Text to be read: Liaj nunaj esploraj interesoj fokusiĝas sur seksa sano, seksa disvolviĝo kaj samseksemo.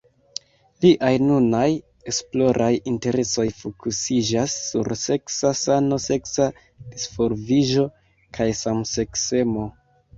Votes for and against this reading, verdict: 2, 1, accepted